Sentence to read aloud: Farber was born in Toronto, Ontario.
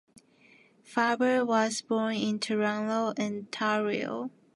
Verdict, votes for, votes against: rejected, 1, 2